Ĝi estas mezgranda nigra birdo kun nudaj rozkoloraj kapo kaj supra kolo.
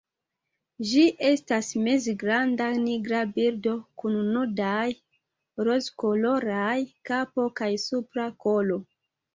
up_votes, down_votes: 2, 0